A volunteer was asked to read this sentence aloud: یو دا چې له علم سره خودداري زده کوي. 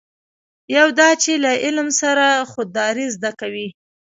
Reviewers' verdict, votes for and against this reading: accepted, 2, 0